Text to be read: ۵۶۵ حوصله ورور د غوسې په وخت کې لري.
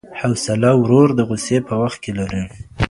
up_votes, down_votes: 0, 2